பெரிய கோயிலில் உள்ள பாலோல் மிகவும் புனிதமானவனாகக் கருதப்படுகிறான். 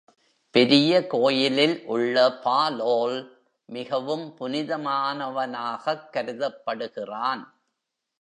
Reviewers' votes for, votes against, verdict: 2, 0, accepted